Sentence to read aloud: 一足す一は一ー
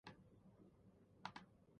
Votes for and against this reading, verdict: 1, 2, rejected